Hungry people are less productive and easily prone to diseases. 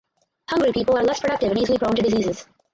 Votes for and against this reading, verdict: 0, 4, rejected